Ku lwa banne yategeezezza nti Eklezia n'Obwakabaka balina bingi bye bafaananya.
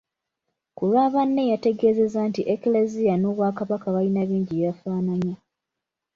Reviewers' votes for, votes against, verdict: 2, 0, accepted